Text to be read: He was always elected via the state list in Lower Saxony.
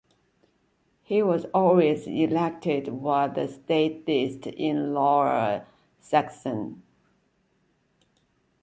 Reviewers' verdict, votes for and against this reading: rejected, 0, 2